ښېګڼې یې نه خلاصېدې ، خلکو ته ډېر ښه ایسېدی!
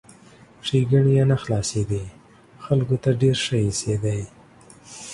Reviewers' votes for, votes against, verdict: 2, 0, accepted